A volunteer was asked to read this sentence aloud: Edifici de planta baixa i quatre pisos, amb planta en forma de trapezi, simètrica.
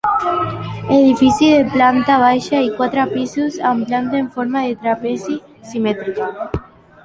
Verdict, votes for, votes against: rejected, 0, 2